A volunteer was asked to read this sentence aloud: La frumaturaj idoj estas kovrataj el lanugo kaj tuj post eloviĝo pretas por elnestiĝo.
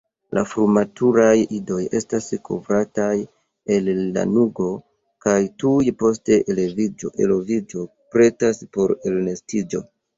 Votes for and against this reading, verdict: 2, 0, accepted